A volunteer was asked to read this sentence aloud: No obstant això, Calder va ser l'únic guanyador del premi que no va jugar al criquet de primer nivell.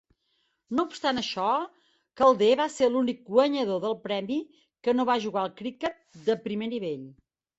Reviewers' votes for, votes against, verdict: 4, 0, accepted